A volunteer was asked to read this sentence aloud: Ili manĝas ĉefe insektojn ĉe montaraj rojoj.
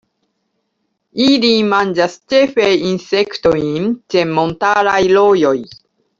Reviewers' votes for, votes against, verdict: 0, 2, rejected